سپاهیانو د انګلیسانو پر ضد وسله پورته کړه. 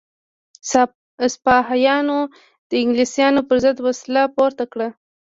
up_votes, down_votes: 0, 2